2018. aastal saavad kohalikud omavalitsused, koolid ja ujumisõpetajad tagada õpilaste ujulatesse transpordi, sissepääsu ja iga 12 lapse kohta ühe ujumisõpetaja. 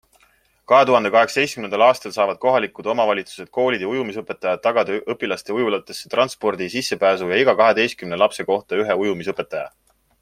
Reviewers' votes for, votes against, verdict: 0, 2, rejected